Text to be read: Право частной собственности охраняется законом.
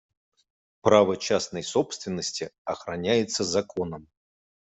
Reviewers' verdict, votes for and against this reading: accepted, 2, 0